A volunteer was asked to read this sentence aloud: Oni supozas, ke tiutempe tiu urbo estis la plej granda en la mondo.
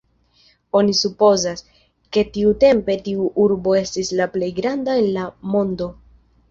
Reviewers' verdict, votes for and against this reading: accepted, 2, 0